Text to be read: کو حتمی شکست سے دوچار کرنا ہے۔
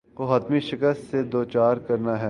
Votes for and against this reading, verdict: 2, 0, accepted